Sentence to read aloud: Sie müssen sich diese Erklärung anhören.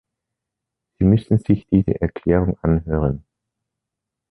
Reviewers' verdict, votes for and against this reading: rejected, 1, 2